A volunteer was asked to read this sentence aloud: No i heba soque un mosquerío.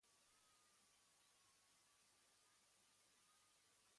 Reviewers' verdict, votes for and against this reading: rejected, 1, 2